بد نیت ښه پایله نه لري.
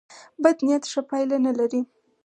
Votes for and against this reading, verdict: 4, 0, accepted